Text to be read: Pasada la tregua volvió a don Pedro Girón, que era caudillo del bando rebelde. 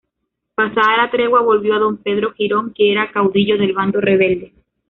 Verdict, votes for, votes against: rejected, 1, 2